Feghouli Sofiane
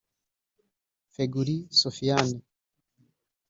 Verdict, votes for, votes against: rejected, 1, 2